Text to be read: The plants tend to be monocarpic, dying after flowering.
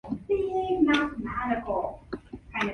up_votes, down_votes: 0, 2